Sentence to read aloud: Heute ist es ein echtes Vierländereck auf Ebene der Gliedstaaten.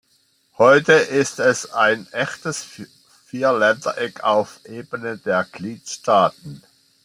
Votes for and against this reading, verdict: 2, 0, accepted